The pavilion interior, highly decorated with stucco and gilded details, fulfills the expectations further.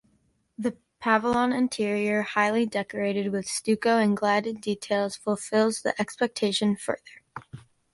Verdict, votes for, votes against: rejected, 0, 2